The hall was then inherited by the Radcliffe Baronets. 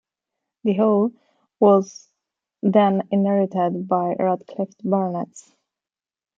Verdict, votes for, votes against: accepted, 2, 0